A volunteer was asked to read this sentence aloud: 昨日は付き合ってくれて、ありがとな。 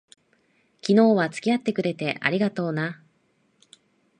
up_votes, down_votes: 2, 0